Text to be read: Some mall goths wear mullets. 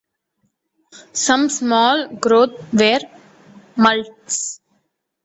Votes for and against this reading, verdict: 0, 2, rejected